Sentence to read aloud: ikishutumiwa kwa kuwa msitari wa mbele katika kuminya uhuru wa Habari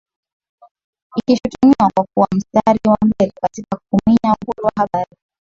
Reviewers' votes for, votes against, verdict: 2, 0, accepted